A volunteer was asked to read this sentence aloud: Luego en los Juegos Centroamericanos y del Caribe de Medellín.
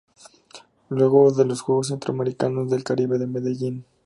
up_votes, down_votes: 0, 2